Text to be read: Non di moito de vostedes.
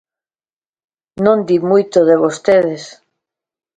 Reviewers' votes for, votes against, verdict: 2, 0, accepted